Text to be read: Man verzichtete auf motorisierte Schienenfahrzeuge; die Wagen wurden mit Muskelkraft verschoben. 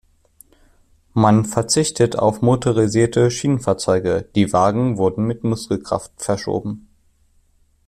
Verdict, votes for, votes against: accepted, 2, 1